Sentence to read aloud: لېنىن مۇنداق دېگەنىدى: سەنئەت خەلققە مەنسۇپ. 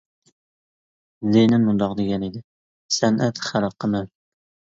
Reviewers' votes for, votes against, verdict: 0, 2, rejected